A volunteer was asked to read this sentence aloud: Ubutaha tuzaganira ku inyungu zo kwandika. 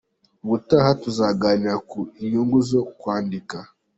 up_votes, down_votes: 3, 0